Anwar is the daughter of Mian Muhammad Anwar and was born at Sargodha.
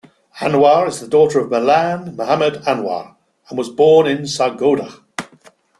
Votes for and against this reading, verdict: 1, 2, rejected